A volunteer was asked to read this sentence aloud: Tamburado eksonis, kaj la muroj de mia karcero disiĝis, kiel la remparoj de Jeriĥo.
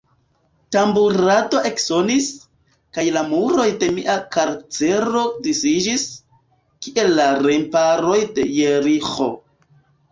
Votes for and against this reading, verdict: 2, 0, accepted